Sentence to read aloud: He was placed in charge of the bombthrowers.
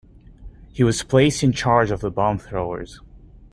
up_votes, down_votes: 2, 0